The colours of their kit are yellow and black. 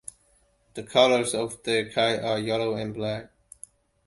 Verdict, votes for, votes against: accepted, 2, 1